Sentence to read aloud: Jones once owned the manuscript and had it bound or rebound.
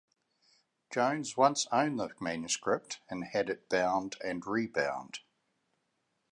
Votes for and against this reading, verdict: 0, 2, rejected